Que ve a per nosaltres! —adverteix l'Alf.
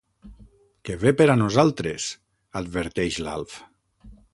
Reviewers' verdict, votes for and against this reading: rejected, 3, 6